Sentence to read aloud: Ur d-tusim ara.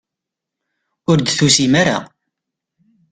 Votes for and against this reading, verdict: 2, 0, accepted